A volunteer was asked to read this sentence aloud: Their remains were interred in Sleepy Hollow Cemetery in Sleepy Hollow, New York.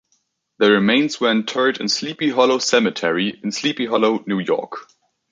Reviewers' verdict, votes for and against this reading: rejected, 1, 2